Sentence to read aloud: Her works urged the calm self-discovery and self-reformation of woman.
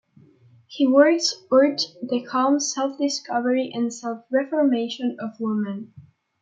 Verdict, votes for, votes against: rejected, 0, 2